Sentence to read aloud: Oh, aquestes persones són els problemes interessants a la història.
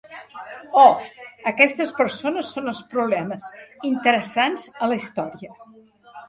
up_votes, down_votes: 1, 2